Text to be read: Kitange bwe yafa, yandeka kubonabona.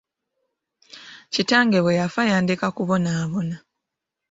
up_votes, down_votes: 2, 0